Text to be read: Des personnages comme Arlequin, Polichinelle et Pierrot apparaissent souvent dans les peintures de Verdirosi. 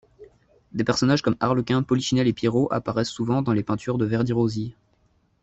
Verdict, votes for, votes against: accepted, 2, 0